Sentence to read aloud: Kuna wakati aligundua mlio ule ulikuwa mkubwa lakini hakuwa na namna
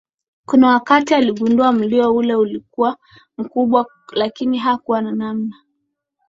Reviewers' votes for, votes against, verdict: 2, 0, accepted